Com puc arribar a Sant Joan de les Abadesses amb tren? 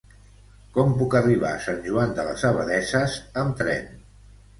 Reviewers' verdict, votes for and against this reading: rejected, 0, 2